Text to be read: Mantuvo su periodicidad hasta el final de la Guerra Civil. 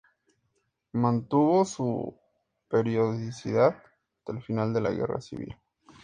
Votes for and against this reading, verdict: 4, 0, accepted